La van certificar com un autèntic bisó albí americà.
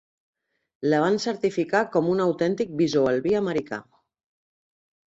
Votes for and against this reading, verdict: 3, 0, accepted